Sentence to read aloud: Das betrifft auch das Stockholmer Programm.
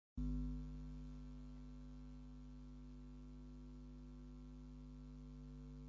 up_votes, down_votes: 0, 4